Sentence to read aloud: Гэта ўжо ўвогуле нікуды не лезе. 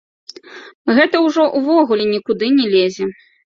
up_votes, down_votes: 1, 2